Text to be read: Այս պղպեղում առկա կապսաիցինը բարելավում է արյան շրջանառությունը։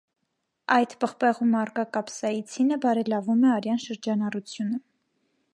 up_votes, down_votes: 1, 3